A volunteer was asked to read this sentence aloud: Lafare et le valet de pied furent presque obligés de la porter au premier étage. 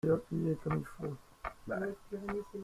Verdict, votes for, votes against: rejected, 0, 2